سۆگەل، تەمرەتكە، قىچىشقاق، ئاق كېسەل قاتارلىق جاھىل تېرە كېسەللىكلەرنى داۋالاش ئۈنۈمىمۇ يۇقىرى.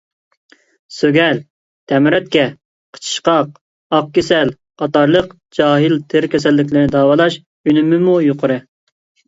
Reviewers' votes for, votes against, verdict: 2, 0, accepted